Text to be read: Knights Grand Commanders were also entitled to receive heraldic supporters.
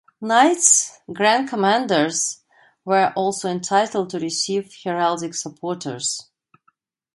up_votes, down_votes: 2, 0